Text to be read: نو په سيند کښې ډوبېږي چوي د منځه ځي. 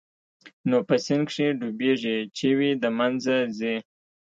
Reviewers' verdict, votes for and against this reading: rejected, 0, 2